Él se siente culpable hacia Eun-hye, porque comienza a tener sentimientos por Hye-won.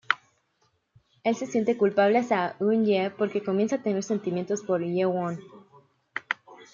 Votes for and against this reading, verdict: 2, 0, accepted